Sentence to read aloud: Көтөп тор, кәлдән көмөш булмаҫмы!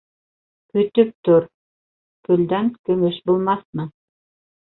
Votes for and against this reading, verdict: 0, 2, rejected